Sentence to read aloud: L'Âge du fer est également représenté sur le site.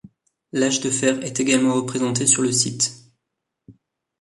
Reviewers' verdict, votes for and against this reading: rejected, 1, 2